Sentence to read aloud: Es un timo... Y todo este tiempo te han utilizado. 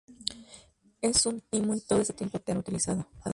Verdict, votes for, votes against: rejected, 2, 2